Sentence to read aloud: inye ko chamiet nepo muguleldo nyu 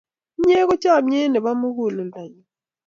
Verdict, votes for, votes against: accepted, 2, 0